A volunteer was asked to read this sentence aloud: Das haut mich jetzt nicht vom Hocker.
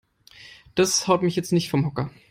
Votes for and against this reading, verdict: 3, 0, accepted